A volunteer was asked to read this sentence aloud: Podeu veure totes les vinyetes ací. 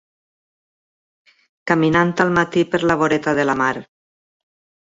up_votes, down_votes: 1, 2